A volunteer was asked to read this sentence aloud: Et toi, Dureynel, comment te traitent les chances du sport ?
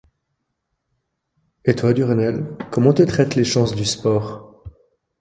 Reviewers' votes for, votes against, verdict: 2, 0, accepted